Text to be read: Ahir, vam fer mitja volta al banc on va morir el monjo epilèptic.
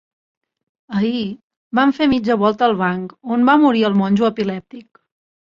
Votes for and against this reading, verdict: 5, 0, accepted